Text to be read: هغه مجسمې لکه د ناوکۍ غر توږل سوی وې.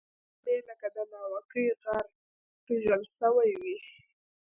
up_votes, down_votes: 1, 2